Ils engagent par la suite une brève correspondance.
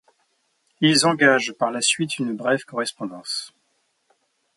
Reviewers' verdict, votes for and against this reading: accepted, 2, 0